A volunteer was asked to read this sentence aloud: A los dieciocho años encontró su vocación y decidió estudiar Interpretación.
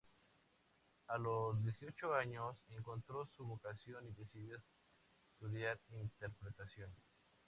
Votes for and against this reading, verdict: 0, 2, rejected